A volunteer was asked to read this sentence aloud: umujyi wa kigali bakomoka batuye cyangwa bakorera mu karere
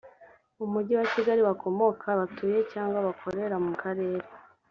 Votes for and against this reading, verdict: 2, 0, accepted